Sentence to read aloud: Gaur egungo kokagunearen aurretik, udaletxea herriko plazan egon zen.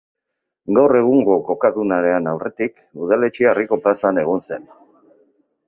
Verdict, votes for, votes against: rejected, 2, 4